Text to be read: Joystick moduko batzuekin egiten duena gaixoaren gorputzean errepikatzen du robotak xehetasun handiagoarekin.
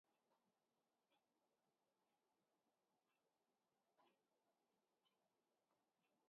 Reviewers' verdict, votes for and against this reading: rejected, 0, 2